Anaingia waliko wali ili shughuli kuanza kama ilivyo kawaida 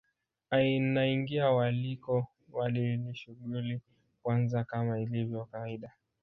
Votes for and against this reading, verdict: 0, 2, rejected